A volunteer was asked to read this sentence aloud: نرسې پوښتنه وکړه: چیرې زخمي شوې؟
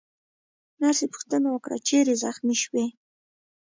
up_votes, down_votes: 1, 2